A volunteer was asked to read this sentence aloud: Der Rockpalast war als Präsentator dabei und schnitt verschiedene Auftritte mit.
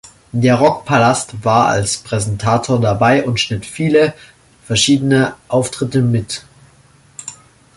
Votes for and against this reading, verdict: 1, 2, rejected